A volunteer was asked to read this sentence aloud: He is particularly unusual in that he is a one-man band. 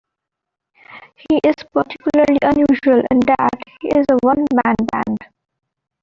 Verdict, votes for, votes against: accepted, 2, 0